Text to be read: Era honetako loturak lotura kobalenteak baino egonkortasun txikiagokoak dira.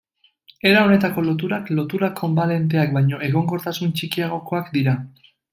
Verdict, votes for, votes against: rejected, 0, 2